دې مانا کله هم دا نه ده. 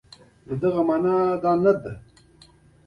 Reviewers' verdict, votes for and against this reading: rejected, 1, 2